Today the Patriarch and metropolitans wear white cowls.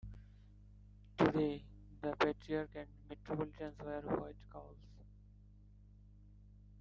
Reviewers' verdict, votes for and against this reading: rejected, 0, 2